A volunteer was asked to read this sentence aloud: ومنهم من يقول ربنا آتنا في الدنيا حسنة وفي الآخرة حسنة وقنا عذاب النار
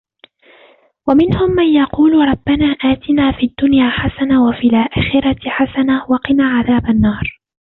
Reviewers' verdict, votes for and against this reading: rejected, 1, 2